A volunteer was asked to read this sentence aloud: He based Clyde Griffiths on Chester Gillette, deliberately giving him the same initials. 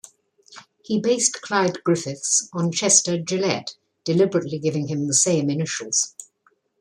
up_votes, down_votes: 2, 0